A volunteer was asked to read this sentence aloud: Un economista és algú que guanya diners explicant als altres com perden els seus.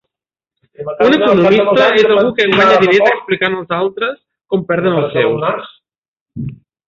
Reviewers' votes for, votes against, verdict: 0, 3, rejected